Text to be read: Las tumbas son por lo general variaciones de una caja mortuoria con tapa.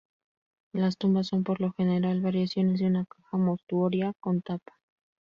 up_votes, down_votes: 2, 2